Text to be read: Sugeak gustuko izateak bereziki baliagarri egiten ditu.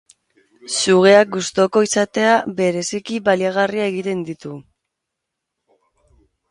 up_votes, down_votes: 0, 4